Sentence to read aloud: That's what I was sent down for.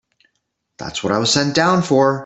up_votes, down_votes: 2, 0